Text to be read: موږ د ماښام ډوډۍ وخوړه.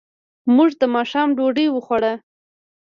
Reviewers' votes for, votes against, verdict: 1, 2, rejected